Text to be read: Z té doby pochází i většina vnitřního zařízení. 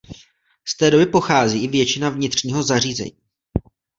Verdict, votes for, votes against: accepted, 2, 0